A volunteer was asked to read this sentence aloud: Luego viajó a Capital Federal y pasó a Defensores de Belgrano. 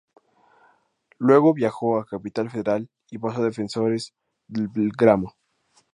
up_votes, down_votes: 0, 2